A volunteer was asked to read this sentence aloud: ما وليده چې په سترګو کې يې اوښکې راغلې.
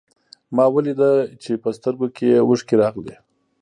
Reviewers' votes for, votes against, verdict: 1, 2, rejected